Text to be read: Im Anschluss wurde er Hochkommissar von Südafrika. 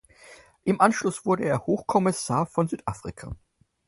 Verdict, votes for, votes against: accepted, 4, 0